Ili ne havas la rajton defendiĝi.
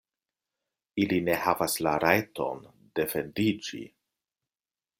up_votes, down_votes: 2, 0